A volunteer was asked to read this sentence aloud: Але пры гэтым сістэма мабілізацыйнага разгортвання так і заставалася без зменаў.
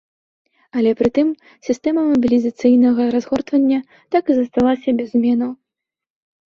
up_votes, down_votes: 0, 2